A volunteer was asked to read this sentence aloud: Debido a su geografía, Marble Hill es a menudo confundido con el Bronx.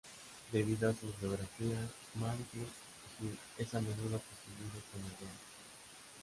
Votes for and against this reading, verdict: 0, 3, rejected